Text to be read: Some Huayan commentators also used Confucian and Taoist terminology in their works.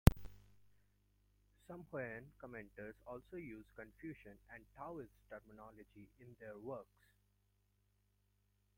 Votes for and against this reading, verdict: 1, 2, rejected